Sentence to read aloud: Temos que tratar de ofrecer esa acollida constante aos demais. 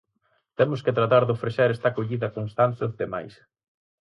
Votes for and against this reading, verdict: 2, 4, rejected